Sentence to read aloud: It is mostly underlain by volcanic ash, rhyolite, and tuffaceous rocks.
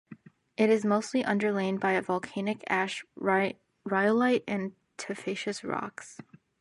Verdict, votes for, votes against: rejected, 0, 2